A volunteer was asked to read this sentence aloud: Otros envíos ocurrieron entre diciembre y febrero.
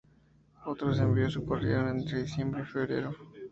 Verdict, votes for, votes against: accepted, 2, 0